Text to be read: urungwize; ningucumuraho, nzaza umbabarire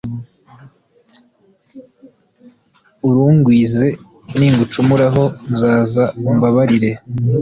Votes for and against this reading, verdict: 2, 0, accepted